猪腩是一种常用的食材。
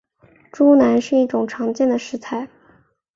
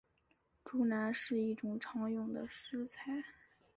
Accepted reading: second